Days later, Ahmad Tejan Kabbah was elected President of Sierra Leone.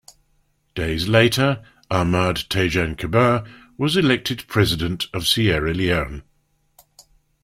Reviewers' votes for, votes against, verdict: 2, 0, accepted